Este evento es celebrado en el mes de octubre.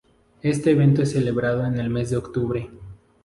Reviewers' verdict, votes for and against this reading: accepted, 4, 0